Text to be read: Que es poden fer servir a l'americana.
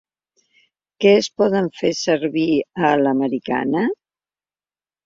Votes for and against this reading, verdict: 3, 0, accepted